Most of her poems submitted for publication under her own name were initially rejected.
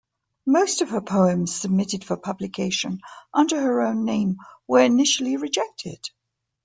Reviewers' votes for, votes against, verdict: 2, 0, accepted